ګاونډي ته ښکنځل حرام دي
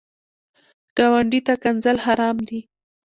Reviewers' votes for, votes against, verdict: 2, 1, accepted